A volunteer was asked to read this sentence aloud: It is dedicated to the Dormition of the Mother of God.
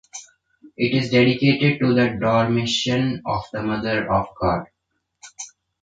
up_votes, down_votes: 2, 0